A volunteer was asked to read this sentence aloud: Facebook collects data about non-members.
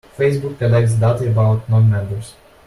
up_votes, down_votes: 2, 0